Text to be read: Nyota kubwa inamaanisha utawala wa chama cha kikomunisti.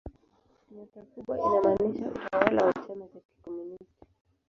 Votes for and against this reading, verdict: 0, 4, rejected